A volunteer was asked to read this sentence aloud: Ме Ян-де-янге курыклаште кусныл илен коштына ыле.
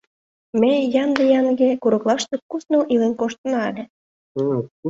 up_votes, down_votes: 0, 2